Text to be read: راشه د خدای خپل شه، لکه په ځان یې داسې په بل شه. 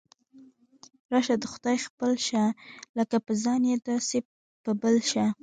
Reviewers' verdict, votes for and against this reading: accepted, 2, 0